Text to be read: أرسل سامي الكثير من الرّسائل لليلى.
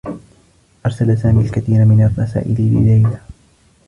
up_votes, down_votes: 2, 0